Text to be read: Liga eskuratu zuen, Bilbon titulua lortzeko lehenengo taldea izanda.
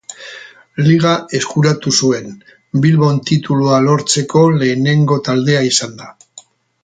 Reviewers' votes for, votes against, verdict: 2, 2, rejected